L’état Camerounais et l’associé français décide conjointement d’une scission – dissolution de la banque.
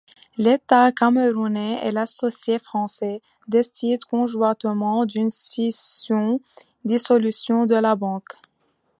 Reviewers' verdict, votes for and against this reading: accepted, 2, 0